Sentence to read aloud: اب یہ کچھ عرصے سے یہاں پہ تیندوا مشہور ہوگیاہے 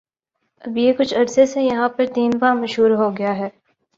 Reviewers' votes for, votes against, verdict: 4, 0, accepted